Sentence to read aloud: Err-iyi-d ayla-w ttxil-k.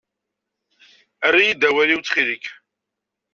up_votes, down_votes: 0, 2